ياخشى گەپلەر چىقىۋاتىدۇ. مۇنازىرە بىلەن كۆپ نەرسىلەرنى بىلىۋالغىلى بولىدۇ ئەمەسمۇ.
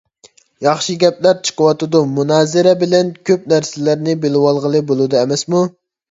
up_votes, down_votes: 2, 0